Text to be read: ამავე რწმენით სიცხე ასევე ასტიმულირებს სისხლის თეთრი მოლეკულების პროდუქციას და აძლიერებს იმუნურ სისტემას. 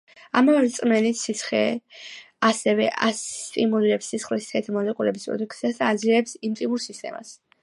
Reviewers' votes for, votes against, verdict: 1, 2, rejected